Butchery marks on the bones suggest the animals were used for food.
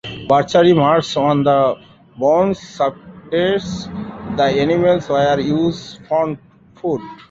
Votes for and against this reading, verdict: 0, 2, rejected